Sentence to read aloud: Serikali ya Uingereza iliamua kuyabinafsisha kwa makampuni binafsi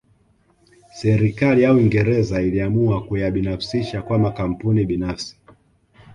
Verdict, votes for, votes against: accepted, 2, 0